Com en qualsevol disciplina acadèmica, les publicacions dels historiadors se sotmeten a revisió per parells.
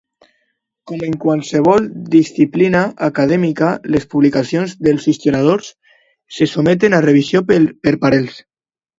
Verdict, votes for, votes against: rejected, 0, 2